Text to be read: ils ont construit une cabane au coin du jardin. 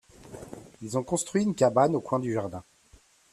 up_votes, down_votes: 2, 0